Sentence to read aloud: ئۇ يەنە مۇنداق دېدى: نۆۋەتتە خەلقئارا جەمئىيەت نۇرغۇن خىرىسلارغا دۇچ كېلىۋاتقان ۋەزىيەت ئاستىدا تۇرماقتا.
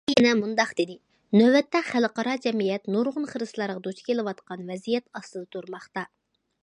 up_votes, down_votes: 0, 2